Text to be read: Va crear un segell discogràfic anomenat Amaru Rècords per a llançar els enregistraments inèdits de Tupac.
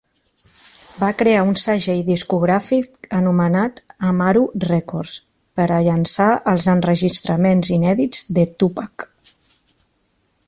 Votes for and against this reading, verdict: 2, 0, accepted